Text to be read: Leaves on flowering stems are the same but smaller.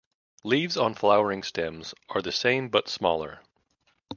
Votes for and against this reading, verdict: 2, 0, accepted